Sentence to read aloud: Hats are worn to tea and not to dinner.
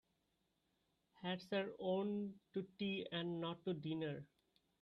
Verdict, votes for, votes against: rejected, 1, 2